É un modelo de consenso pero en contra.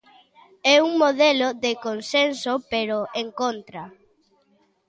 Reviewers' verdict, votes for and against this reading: accepted, 2, 0